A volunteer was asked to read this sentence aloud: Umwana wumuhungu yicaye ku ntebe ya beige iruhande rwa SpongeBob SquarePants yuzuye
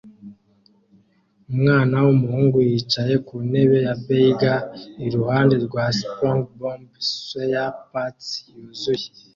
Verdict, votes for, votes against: accepted, 2, 0